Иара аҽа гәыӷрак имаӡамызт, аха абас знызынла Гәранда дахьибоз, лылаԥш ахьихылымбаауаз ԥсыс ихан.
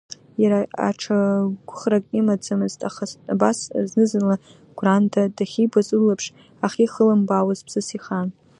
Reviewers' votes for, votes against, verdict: 1, 2, rejected